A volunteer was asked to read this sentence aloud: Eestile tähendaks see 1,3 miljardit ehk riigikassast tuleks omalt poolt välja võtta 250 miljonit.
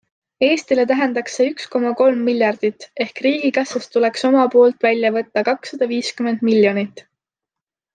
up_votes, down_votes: 0, 2